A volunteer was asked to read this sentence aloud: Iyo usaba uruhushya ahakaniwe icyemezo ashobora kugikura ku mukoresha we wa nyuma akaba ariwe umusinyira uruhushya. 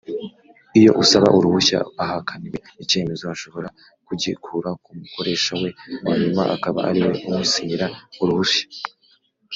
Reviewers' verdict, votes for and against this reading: accepted, 2, 0